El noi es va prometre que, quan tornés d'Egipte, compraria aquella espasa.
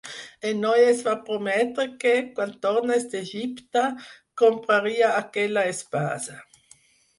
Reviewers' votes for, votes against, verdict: 2, 4, rejected